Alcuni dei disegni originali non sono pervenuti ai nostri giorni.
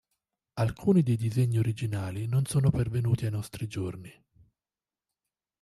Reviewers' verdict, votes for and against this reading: accepted, 2, 0